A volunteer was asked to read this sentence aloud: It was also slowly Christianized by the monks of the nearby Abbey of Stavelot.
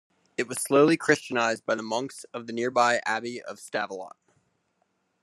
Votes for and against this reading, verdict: 1, 2, rejected